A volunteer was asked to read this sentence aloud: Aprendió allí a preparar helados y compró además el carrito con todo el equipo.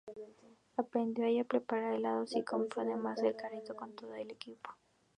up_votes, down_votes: 0, 2